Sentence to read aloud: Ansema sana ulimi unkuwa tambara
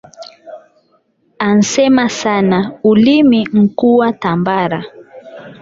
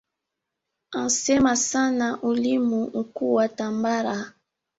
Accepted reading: second